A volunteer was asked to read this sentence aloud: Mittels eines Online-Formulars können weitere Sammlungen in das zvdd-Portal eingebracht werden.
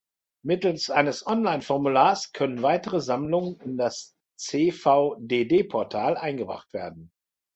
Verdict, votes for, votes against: rejected, 0, 2